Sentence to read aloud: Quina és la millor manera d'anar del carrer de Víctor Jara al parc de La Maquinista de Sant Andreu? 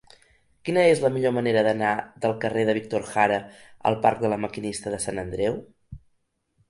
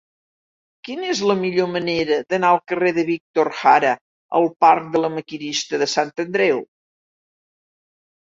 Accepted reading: first